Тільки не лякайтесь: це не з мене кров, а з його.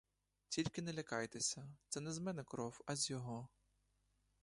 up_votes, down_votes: 1, 2